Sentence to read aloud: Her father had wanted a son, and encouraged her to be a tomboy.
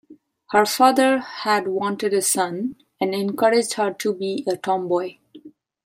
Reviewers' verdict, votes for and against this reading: accepted, 2, 0